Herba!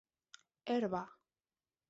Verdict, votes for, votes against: accepted, 2, 0